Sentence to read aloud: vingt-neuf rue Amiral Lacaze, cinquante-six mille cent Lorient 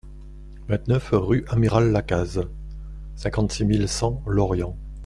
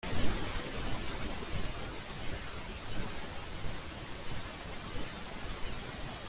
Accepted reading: first